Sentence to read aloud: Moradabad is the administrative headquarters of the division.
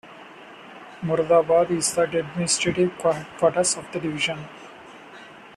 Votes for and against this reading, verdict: 1, 2, rejected